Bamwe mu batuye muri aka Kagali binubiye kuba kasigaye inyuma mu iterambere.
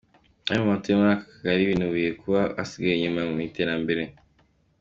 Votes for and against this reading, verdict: 2, 1, accepted